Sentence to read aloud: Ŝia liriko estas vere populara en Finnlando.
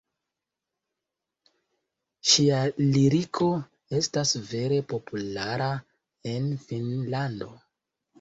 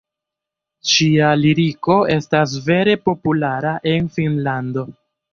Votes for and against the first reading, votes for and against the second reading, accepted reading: 1, 2, 2, 0, second